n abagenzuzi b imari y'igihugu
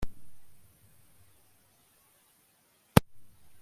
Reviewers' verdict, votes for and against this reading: rejected, 1, 2